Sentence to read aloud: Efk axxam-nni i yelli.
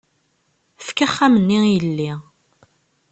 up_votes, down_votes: 2, 0